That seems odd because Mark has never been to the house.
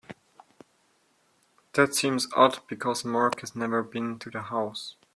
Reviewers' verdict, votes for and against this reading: accepted, 2, 0